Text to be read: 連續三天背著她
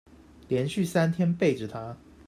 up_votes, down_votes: 2, 1